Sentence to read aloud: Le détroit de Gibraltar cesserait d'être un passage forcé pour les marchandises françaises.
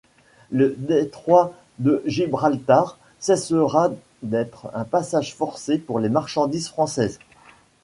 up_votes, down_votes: 1, 2